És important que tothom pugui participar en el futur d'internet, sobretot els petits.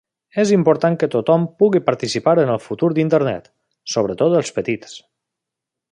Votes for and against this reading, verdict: 3, 0, accepted